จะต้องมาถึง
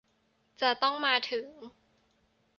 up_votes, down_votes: 2, 0